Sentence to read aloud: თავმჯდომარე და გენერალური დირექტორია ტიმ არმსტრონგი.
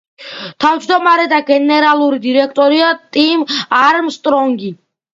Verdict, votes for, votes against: accepted, 2, 0